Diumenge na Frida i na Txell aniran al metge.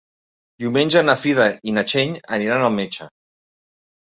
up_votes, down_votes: 1, 2